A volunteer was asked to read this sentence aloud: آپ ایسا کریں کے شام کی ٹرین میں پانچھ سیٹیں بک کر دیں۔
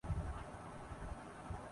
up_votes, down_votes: 6, 8